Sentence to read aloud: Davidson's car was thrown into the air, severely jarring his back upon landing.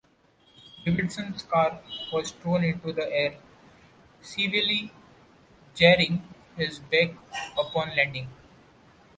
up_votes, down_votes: 2, 0